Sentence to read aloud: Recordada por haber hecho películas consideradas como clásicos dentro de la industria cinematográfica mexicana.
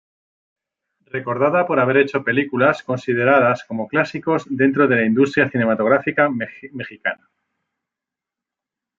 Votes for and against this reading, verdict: 0, 2, rejected